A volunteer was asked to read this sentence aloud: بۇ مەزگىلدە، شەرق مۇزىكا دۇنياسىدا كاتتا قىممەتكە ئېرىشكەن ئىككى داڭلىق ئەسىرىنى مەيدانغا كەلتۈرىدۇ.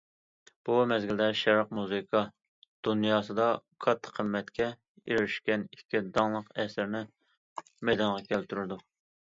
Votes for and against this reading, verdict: 2, 0, accepted